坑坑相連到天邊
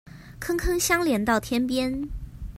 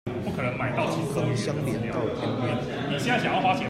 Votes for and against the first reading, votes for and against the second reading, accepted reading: 2, 0, 0, 2, first